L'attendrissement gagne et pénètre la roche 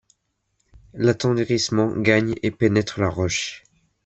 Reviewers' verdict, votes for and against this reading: accepted, 2, 0